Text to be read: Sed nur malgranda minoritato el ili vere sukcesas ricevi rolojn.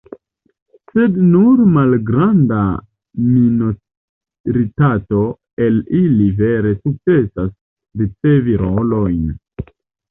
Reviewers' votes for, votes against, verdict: 0, 2, rejected